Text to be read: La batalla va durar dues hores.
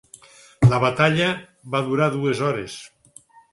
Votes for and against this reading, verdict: 6, 0, accepted